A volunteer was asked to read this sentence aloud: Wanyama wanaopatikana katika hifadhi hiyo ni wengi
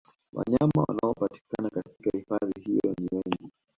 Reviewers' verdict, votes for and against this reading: accepted, 2, 1